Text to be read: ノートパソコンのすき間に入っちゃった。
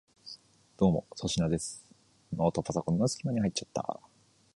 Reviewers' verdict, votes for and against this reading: rejected, 1, 2